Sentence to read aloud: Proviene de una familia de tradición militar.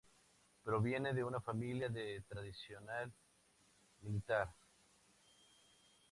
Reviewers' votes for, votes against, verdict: 0, 2, rejected